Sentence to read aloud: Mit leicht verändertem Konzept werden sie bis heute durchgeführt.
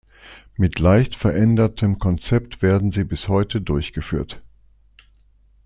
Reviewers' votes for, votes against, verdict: 2, 0, accepted